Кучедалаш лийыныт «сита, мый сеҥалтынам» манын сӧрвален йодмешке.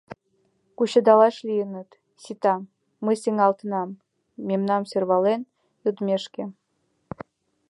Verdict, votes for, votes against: rejected, 0, 2